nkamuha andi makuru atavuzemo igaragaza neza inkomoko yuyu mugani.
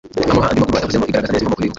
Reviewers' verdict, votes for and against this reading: rejected, 0, 2